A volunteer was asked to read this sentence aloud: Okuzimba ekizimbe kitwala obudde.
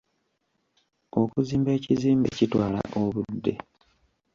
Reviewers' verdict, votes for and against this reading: rejected, 1, 2